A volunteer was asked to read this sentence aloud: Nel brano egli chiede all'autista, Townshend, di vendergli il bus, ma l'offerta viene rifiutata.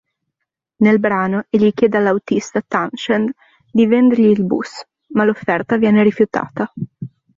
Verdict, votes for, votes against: accepted, 2, 0